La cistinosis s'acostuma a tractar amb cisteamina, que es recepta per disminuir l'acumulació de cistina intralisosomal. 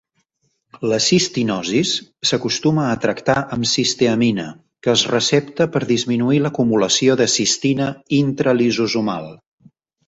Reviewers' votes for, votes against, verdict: 6, 0, accepted